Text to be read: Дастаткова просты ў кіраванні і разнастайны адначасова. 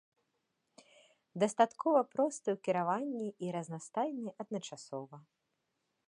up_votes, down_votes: 2, 0